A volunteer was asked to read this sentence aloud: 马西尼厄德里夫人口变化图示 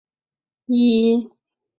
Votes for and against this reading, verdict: 0, 3, rejected